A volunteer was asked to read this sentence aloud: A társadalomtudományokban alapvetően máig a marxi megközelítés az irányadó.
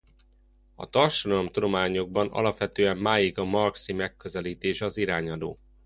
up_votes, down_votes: 0, 2